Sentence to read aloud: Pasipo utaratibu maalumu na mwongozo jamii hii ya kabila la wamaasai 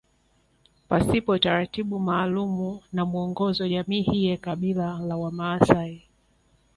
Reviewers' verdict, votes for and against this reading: rejected, 1, 2